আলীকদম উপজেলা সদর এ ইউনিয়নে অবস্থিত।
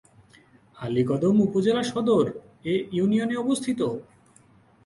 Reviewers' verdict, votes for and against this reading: accepted, 10, 6